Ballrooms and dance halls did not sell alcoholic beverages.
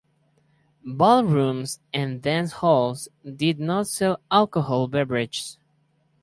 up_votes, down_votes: 2, 4